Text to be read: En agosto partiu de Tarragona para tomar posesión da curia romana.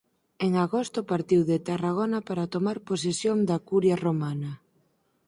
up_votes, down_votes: 2, 4